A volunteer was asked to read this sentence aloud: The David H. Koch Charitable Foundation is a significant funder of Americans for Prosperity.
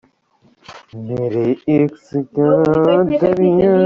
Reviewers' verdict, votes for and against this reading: rejected, 0, 2